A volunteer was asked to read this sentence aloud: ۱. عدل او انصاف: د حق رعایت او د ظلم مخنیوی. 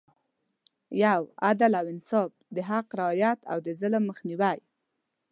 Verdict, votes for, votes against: rejected, 0, 2